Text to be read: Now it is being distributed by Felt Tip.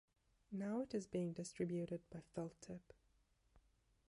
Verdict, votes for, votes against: accepted, 2, 1